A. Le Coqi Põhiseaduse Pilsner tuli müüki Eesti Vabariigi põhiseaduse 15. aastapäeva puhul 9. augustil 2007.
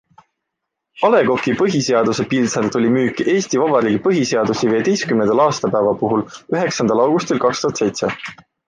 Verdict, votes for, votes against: rejected, 0, 2